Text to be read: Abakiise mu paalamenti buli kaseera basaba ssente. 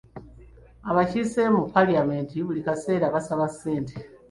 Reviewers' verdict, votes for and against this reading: accepted, 2, 1